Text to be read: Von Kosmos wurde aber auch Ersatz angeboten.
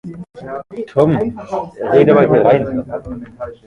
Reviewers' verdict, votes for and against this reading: rejected, 0, 2